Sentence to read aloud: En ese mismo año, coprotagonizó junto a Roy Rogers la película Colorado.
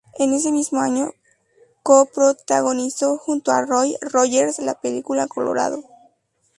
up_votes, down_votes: 0, 2